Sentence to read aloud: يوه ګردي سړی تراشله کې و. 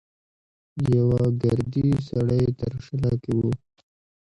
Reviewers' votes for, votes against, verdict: 0, 2, rejected